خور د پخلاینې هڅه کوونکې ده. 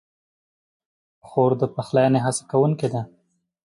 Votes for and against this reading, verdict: 2, 0, accepted